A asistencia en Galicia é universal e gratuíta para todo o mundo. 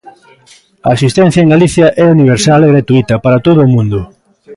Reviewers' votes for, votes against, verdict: 1, 2, rejected